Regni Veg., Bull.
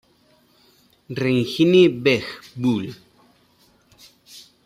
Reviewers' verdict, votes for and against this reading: rejected, 0, 2